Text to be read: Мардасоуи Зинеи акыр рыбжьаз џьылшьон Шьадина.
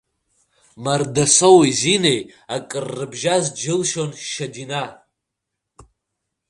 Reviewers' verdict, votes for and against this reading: rejected, 0, 2